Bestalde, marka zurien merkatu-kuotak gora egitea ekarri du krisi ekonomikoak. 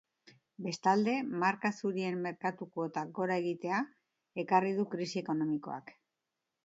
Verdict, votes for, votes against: accepted, 2, 0